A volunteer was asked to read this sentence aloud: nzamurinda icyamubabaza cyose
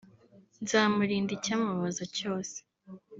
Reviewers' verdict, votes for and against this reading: rejected, 1, 2